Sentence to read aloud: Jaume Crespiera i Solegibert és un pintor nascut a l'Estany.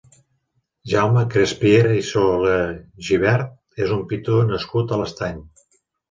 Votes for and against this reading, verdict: 2, 0, accepted